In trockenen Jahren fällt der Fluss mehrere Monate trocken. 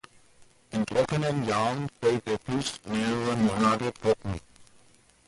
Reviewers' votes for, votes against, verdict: 2, 0, accepted